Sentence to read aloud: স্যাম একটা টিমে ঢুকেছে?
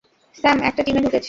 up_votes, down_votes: 0, 2